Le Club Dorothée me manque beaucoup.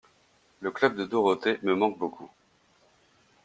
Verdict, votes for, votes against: rejected, 0, 2